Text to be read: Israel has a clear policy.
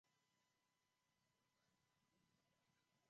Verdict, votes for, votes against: rejected, 0, 2